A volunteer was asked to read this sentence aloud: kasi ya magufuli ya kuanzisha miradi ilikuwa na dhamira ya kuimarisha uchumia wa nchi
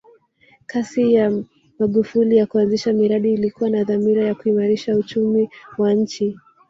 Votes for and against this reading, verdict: 0, 2, rejected